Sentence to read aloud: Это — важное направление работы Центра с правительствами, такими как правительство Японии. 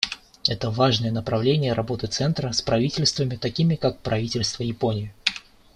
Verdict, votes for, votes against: accepted, 2, 0